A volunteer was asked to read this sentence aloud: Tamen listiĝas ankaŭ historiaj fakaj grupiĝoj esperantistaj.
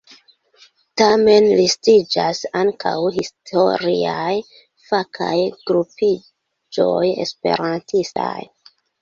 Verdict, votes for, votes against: rejected, 0, 2